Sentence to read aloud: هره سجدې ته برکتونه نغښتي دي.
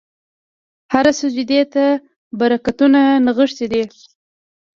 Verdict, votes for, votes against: rejected, 1, 2